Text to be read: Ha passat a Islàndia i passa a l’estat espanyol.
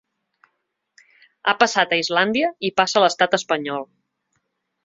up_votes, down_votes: 3, 0